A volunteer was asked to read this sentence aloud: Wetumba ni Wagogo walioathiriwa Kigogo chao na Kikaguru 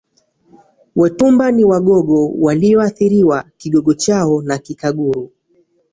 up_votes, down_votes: 1, 2